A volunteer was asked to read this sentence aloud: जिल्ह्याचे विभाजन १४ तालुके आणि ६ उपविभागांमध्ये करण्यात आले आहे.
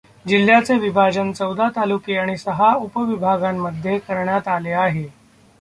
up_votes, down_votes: 0, 2